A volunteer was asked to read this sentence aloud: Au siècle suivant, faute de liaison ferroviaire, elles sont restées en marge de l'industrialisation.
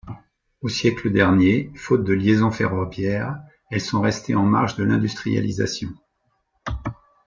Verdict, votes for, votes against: rejected, 0, 2